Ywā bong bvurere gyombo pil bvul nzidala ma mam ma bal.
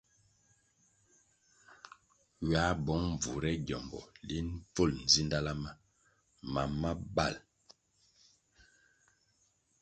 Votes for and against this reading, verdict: 2, 0, accepted